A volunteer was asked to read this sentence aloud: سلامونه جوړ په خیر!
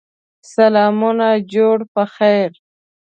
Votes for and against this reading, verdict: 2, 0, accepted